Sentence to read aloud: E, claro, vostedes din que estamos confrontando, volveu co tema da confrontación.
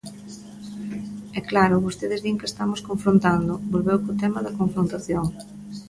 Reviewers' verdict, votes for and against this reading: accepted, 2, 0